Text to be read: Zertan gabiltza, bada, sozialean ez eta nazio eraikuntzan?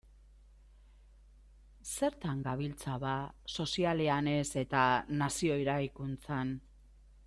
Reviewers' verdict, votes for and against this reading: rejected, 0, 2